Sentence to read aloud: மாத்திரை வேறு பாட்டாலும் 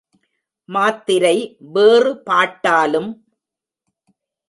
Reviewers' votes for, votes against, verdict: 3, 0, accepted